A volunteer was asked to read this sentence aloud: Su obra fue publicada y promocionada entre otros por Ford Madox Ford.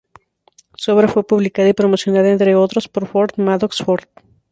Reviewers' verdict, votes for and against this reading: rejected, 0, 2